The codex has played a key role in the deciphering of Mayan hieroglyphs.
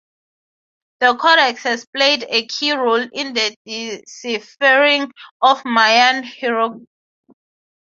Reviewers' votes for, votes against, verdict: 3, 0, accepted